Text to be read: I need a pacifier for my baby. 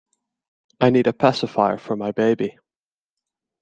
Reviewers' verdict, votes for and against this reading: accepted, 2, 0